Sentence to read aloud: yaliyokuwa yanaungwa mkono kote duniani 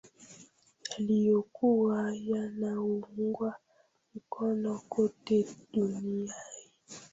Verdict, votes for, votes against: rejected, 1, 2